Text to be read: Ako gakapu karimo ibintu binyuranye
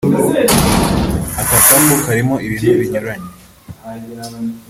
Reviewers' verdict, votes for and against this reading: rejected, 0, 2